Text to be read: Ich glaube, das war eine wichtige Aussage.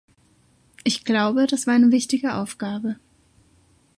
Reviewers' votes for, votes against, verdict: 0, 2, rejected